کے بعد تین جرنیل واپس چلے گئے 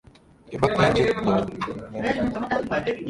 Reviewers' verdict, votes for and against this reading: rejected, 0, 2